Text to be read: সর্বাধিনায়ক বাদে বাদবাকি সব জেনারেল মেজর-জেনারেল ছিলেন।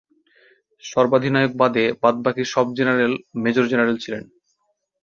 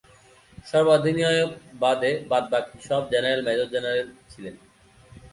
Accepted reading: first